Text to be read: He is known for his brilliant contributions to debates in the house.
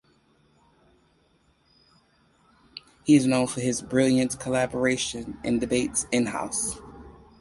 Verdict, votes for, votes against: rejected, 0, 4